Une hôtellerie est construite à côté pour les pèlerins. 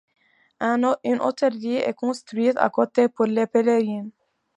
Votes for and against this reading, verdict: 1, 2, rejected